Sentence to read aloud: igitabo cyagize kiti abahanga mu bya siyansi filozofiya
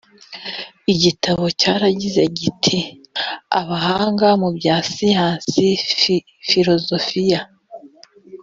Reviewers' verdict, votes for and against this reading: rejected, 0, 2